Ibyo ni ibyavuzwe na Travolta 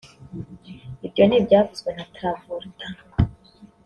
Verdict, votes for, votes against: rejected, 0, 2